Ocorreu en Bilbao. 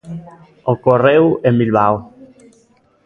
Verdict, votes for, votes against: accepted, 2, 0